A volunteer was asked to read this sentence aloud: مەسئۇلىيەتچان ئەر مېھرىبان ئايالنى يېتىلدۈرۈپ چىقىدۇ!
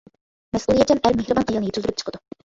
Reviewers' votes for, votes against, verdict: 1, 2, rejected